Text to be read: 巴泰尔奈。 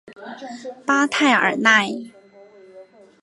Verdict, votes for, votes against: accepted, 3, 0